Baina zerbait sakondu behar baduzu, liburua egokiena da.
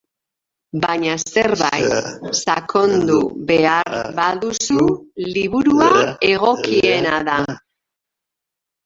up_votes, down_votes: 1, 2